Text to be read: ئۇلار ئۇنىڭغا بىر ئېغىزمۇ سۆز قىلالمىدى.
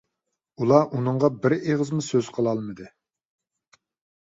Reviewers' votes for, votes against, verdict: 2, 0, accepted